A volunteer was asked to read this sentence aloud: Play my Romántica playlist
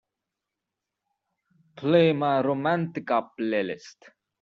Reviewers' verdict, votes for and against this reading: accepted, 2, 0